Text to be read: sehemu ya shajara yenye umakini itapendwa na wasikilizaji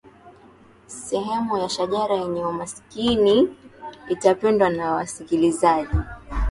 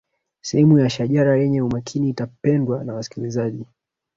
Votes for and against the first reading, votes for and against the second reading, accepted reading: 2, 1, 0, 2, first